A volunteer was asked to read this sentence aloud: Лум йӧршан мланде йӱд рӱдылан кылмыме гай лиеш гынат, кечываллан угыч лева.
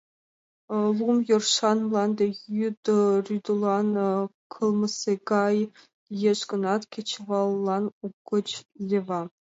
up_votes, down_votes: 0, 2